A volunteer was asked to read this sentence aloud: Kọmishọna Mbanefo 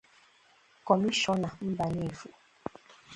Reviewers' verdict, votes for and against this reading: accepted, 2, 0